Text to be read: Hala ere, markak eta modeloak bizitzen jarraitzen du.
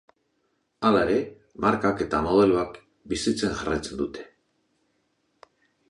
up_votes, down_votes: 0, 2